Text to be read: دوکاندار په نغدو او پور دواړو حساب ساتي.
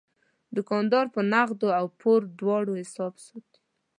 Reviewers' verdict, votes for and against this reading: rejected, 1, 2